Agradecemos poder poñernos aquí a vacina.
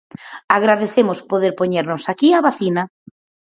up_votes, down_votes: 4, 0